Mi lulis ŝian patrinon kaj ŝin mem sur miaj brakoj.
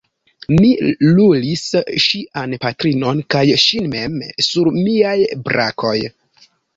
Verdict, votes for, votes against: rejected, 2, 3